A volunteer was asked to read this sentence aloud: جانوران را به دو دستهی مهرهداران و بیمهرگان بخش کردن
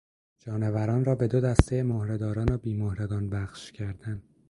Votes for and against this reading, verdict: 2, 0, accepted